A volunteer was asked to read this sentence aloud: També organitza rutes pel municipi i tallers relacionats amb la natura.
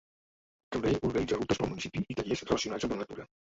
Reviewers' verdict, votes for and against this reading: rejected, 0, 2